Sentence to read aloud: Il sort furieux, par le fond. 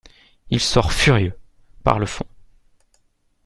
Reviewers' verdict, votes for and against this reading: accepted, 2, 0